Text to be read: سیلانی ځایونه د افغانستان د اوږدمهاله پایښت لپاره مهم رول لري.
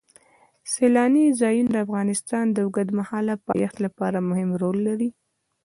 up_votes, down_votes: 2, 0